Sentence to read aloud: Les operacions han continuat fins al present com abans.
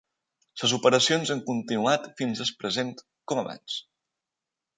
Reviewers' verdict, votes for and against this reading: accepted, 2, 0